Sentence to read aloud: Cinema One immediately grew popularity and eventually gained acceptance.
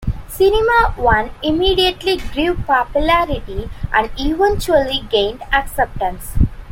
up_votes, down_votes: 2, 0